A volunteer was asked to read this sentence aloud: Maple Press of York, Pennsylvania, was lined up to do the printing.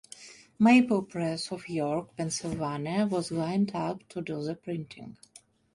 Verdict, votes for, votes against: rejected, 0, 2